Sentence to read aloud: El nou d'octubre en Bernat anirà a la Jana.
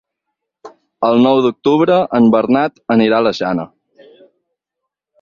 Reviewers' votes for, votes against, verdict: 6, 0, accepted